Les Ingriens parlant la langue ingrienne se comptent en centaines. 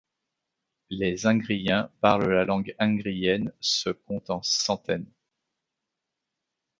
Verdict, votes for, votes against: rejected, 0, 2